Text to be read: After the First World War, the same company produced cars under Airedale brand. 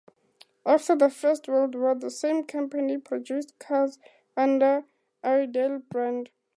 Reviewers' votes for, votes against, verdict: 4, 0, accepted